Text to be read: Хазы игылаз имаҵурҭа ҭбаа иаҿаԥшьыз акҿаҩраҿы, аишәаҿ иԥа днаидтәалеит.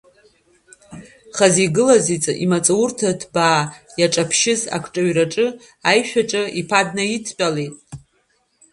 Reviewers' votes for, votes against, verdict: 0, 2, rejected